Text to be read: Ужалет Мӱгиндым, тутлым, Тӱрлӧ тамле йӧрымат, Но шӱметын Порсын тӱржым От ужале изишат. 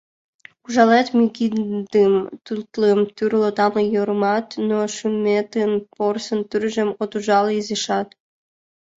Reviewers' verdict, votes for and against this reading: rejected, 0, 2